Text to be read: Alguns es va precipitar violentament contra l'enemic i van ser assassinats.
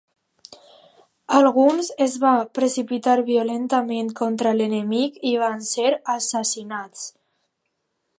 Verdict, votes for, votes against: accepted, 2, 0